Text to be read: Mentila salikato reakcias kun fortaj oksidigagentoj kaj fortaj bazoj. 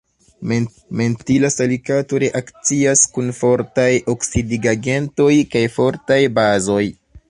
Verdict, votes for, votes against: rejected, 0, 2